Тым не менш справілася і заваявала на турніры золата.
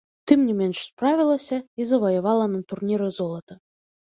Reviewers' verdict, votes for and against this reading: accepted, 2, 0